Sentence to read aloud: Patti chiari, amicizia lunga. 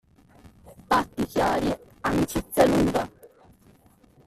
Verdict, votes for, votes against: rejected, 1, 2